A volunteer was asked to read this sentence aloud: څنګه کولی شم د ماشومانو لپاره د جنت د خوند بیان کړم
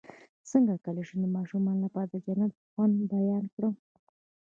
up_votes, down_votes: 2, 0